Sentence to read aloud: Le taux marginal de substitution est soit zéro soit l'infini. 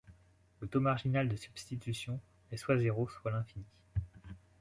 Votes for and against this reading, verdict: 2, 0, accepted